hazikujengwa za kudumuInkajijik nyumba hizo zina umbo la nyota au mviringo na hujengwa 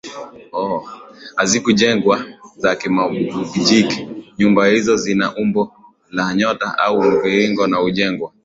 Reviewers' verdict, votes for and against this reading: rejected, 0, 2